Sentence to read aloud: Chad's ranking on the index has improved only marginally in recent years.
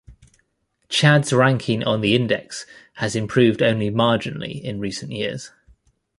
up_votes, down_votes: 2, 0